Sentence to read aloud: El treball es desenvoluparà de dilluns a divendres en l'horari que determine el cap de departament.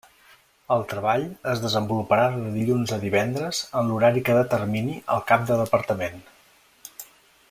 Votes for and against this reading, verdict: 1, 2, rejected